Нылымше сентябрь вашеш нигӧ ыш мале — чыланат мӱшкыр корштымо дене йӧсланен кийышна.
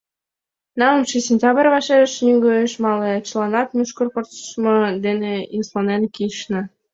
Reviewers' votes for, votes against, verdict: 3, 4, rejected